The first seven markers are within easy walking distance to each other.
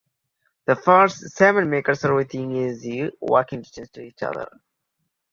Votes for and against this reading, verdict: 1, 2, rejected